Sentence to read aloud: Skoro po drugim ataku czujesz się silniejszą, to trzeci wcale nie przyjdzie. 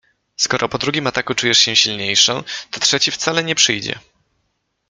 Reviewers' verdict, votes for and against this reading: accepted, 2, 0